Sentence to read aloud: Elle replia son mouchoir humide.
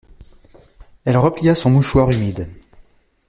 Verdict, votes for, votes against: accepted, 2, 0